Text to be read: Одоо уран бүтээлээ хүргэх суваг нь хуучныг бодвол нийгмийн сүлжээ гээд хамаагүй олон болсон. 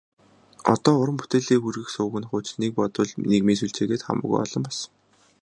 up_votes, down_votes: 0, 2